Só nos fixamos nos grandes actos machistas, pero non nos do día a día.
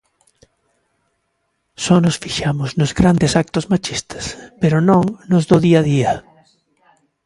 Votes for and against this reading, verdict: 2, 0, accepted